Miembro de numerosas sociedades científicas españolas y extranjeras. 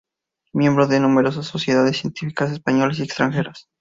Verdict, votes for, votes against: accepted, 2, 0